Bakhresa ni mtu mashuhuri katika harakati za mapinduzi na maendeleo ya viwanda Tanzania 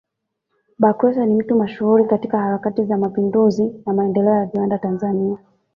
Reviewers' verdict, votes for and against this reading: accepted, 2, 1